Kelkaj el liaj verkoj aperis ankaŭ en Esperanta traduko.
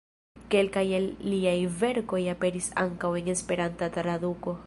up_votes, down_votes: 2, 0